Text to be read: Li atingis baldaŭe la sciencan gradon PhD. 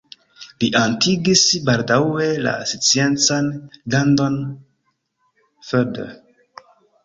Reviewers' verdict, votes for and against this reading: rejected, 1, 2